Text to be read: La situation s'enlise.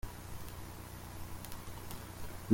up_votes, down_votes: 0, 2